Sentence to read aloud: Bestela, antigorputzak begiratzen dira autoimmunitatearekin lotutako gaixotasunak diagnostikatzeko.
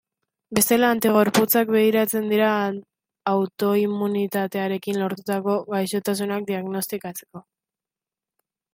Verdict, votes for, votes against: rejected, 0, 2